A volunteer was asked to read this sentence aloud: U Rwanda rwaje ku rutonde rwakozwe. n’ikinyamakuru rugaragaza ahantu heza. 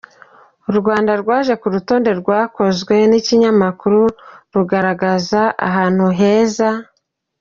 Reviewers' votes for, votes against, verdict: 0, 2, rejected